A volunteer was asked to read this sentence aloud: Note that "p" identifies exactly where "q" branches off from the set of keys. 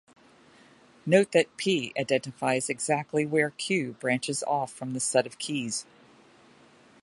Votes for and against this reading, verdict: 2, 0, accepted